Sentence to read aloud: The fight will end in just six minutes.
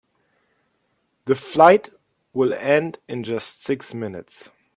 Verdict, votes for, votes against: rejected, 0, 2